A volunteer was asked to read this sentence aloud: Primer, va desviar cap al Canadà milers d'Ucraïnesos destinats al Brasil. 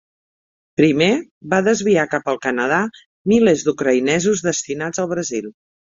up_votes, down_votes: 5, 0